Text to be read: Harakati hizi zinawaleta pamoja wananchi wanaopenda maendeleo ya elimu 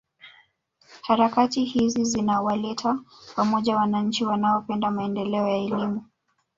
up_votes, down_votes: 2, 1